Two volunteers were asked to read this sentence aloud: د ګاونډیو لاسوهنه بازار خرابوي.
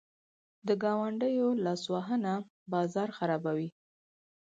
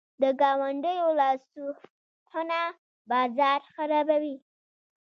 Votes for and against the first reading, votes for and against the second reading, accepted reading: 4, 0, 0, 2, first